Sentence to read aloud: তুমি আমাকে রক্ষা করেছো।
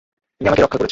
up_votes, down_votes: 0, 2